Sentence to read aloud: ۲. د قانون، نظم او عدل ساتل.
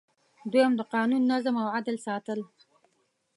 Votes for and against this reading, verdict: 0, 2, rejected